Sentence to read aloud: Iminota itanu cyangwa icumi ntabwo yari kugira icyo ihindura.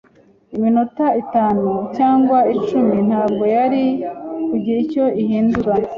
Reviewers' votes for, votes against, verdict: 2, 0, accepted